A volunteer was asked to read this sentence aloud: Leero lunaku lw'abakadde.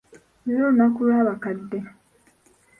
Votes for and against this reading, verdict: 2, 1, accepted